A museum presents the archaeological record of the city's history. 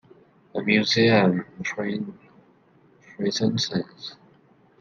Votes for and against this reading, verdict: 1, 2, rejected